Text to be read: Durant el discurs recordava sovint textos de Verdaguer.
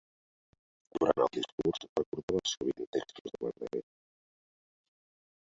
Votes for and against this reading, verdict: 0, 2, rejected